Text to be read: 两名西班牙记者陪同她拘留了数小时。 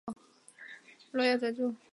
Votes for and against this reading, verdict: 1, 5, rejected